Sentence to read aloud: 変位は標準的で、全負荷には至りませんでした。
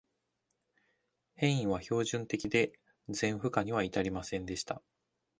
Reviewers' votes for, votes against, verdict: 2, 0, accepted